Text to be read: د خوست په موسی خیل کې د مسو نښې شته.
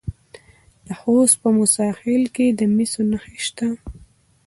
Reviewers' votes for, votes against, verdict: 1, 2, rejected